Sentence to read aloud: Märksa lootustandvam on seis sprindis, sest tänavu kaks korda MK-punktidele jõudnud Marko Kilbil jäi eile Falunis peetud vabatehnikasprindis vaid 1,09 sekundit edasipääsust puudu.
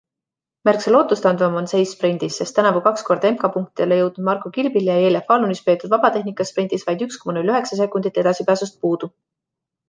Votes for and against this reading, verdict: 0, 2, rejected